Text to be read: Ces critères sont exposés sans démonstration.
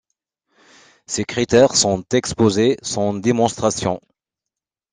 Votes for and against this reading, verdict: 2, 0, accepted